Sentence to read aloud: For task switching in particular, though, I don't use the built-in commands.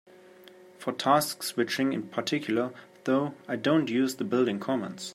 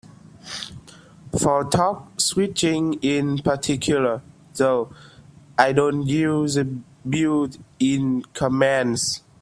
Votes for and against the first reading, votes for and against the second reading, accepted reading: 2, 0, 1, 2, first